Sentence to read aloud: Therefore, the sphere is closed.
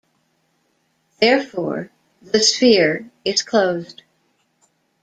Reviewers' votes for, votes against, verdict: 1, 2, rejected